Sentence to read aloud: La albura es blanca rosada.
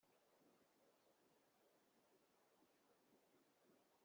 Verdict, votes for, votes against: rejected, 0, 2